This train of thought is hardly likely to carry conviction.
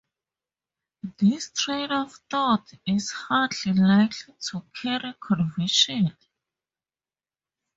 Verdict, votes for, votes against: rejected, 0, 4